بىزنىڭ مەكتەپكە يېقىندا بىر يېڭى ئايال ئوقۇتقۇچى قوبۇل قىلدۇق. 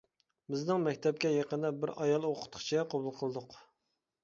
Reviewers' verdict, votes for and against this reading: rejected, 1, 2